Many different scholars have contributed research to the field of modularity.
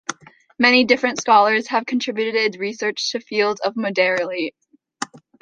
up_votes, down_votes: 0, 2